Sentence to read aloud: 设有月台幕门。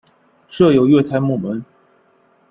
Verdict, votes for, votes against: accepted, 2, 0